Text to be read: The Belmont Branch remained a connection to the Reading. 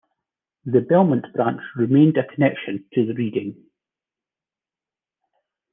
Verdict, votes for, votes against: rejected, 1, 2